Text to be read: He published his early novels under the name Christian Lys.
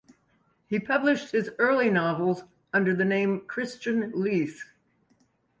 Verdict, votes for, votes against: accepted, 2, 0